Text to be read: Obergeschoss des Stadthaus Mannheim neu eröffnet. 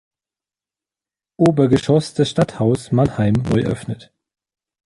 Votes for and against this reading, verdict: 0, 2, rejected